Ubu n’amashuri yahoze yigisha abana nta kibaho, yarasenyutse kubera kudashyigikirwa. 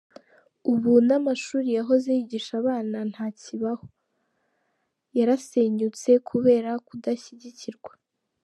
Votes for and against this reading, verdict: 2, 0, accepted